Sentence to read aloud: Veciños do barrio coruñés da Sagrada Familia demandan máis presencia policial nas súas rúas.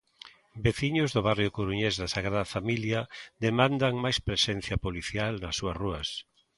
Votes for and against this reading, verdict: 2, 0, accepted